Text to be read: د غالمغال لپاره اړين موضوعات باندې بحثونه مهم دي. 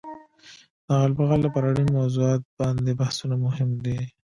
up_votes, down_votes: 1, 2